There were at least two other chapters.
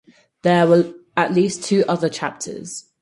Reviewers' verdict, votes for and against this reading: rejected, 0, 4